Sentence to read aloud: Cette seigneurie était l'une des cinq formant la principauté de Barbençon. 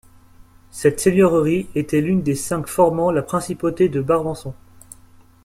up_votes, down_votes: 1, 2